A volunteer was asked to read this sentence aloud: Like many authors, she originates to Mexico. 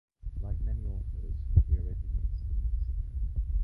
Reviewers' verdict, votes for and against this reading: rejected, 0, 2